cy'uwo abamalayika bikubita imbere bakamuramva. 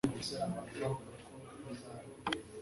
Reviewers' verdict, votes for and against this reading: rejected, 0, 2